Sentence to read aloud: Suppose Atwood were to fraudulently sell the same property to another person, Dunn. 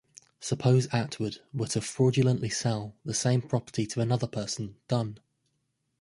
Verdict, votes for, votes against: accepted, 2, 0